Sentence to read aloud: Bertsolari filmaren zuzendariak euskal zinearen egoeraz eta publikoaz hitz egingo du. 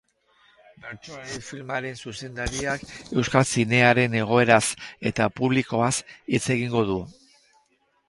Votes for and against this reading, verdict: 4, 2, accepted